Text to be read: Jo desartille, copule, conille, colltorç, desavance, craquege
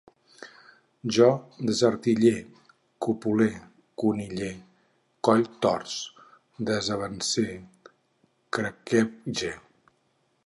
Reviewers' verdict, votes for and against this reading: rejected, 2, 4